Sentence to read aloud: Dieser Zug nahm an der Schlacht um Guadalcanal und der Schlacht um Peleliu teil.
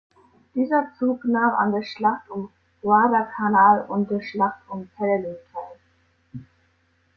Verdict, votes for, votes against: rejected, 1, 2